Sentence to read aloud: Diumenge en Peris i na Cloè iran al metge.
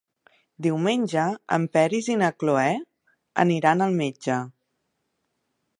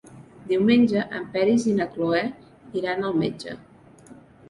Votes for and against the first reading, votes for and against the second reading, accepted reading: 0, 2, 3, 0, second